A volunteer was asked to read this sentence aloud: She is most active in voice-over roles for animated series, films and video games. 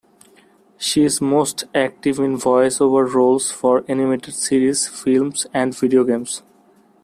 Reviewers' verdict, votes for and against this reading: accepted, 2, 0